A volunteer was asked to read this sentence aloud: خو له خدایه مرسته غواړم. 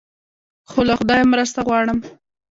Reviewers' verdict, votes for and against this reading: accepted, 2, 0